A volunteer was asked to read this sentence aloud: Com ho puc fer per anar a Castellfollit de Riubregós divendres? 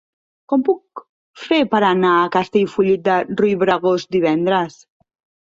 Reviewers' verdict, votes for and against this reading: rejected, 1, 2